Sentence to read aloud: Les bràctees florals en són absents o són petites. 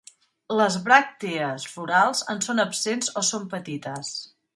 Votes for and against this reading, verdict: 2, 0, accepted